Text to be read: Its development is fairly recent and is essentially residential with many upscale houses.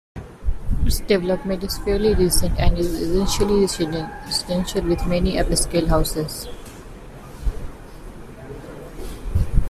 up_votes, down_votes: 0, 2